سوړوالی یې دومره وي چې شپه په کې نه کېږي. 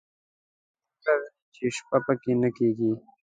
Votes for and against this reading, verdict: 0, 2, rejected